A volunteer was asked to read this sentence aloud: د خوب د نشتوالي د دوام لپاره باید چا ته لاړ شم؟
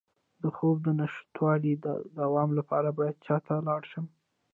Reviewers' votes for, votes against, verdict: 1, 2, rejected